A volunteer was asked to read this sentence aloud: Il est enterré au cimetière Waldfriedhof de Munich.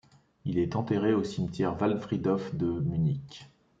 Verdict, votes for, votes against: accepted, 2, 0